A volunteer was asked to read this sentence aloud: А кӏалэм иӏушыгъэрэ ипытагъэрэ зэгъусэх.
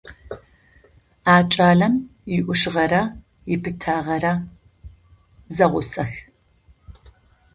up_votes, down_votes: 2, 0